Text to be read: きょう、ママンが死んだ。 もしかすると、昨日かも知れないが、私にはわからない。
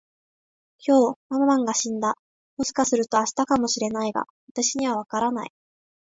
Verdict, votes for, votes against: rejected, 2, 3